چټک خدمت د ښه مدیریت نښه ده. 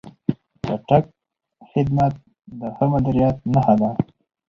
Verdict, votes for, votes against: accepted, 2, 0